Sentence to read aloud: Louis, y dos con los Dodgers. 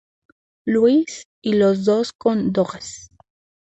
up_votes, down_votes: 2, 0